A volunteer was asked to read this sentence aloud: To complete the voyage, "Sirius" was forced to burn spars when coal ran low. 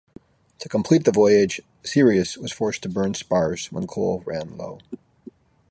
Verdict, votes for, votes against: accepted, 2, 0